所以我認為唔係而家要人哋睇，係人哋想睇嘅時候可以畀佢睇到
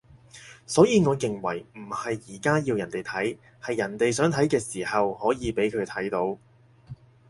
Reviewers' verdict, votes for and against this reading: accepted, 6, 0